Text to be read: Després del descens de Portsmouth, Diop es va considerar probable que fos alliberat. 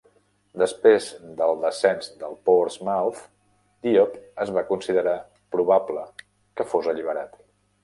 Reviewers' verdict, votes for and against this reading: accepted, 2, 0